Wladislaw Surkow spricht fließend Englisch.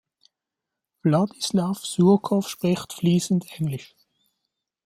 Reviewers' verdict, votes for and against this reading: accepted, 2, 0